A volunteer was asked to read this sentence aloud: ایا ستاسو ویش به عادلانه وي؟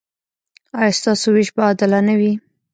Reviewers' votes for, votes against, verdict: 0, 2, rejected